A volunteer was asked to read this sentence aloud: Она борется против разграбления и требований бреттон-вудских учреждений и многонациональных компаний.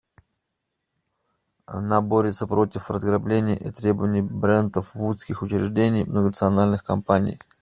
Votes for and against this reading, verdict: 0, 2, rejected